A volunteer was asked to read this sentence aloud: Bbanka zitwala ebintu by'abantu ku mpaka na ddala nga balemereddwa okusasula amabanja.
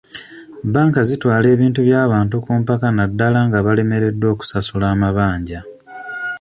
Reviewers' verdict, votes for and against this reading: accepted, 2, 0